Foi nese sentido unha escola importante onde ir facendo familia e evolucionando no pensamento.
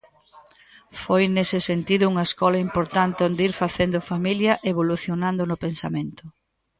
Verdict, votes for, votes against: accepted, 2, 0